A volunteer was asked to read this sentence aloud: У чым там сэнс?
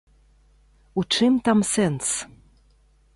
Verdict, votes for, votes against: accepted, 2, 0